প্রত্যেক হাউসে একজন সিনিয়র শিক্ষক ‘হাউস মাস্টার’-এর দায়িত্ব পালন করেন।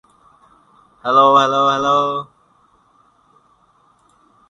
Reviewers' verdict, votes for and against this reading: rejected, 0, 3